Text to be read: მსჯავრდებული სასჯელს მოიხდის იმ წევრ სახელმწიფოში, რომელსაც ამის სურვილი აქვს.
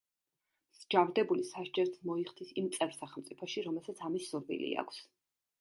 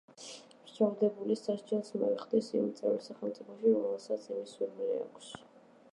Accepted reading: first